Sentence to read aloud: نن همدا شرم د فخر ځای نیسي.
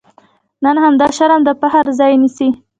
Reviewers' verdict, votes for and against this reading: accepted, 2, 0